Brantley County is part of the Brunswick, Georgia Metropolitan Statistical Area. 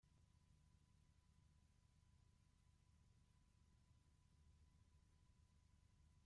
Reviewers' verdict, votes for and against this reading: rejected, 0, 2